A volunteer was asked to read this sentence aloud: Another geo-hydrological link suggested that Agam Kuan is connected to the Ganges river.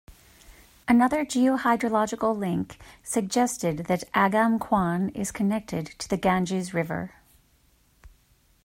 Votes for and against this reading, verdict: 2, 0, accepted